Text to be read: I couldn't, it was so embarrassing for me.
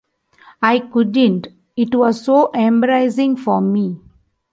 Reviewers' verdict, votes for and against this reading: rejected, 1, 2